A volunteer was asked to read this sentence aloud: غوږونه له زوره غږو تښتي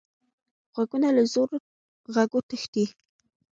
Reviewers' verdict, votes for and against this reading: accepted, 2, 0